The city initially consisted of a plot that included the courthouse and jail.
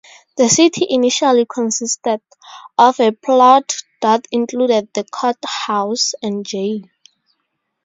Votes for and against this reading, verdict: 2, 2, rejected